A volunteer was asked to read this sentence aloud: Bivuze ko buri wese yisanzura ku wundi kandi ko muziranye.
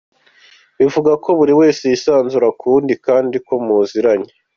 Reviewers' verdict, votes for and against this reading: accepted, 2, 0